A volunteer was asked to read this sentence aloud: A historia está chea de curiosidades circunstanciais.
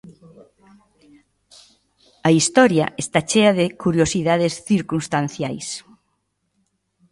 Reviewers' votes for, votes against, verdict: 1, 2, rejected